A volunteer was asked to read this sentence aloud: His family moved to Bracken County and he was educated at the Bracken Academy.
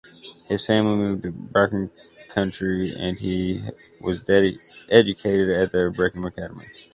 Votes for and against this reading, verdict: 0, 2, rejected